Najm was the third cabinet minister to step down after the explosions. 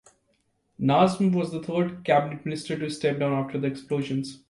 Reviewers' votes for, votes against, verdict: 2, 0, accepted